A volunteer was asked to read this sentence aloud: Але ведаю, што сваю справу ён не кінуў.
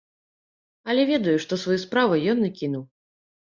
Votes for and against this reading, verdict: 1, 2, rejected